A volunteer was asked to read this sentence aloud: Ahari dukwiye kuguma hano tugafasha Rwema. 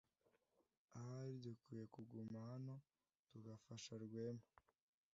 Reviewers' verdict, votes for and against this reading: accepted, 2, 0